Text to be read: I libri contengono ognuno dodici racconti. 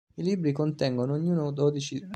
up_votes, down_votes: 0, 2